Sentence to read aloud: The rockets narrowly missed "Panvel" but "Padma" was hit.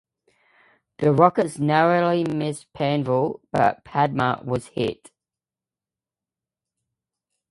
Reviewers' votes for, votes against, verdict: 2, 0, accepted